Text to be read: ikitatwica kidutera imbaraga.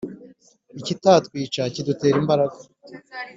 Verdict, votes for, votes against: accepted, 3, 0